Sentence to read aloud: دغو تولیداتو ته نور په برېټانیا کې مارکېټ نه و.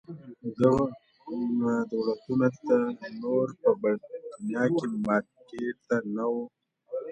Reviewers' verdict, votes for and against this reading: rejected, 0, 2